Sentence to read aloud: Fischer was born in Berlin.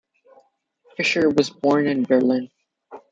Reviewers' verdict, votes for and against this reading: accepted, 2, 0